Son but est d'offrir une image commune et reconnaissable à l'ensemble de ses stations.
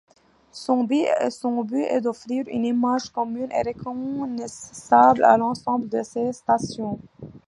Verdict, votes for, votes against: rejected, 1, 2